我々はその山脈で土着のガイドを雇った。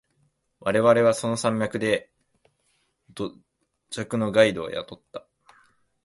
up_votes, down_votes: 2, 0